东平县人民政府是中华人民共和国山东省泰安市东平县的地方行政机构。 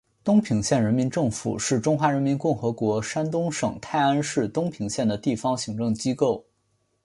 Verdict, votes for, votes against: accepted, 6, 2